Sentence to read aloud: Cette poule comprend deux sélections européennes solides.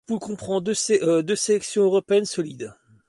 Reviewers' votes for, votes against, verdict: 1, 2, rejected